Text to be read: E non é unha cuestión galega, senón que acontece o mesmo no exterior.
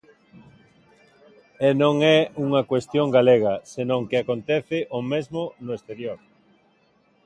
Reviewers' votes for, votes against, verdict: 2, 0, accepted